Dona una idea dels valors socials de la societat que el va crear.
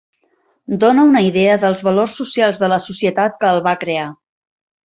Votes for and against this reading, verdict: 4, 0, accepted